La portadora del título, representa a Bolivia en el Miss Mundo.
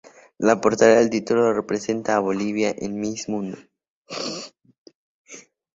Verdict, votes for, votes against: accepted, 2, 0